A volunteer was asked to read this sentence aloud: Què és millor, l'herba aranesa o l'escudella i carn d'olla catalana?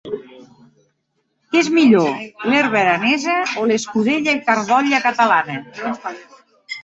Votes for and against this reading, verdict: 2, 0, accepted